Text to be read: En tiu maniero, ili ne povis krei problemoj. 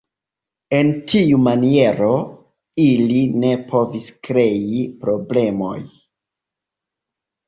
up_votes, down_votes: 2, 1